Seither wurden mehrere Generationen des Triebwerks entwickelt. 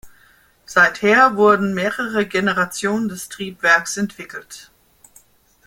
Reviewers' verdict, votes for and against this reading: accepted, 2, 0